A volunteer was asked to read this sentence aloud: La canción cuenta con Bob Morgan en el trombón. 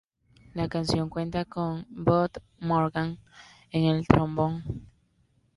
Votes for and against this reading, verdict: 2, 0, accepted